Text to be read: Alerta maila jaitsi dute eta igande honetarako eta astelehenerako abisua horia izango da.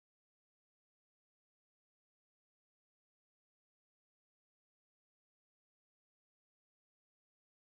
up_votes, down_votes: 0, 4